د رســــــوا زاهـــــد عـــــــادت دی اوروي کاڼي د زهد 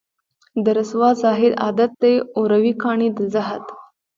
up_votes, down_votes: 1, 2